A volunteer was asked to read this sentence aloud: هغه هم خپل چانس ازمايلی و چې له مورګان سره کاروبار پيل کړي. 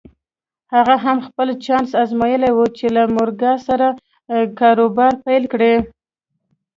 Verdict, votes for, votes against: accepted, 2, 0